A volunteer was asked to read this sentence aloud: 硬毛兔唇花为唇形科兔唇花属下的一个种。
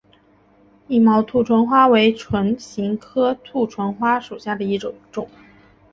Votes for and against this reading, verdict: 2, 0, accepted